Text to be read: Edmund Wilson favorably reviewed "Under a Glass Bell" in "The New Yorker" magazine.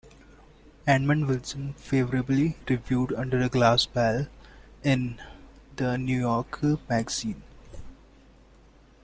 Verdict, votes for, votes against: accepted, 2, 0